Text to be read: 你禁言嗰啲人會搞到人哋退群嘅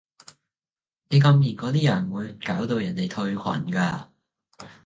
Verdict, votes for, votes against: rejected, 1, 2